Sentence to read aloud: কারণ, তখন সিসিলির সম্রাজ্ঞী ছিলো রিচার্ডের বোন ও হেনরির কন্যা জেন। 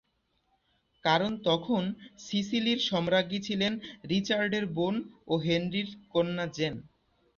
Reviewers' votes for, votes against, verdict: 1, 2, rejected